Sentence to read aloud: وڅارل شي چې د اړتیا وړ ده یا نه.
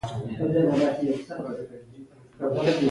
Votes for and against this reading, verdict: 0, 2, rejected